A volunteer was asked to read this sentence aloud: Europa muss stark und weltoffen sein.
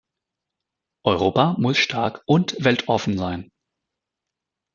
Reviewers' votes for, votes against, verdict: 2, 0, accepted